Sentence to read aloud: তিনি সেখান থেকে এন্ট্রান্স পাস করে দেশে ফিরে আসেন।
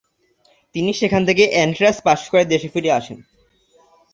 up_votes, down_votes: 0, 2